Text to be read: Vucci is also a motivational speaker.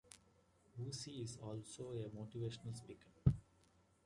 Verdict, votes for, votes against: accepted, 2, 1